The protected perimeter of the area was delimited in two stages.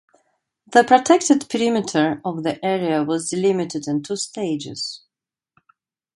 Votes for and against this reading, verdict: 2, 0, accepted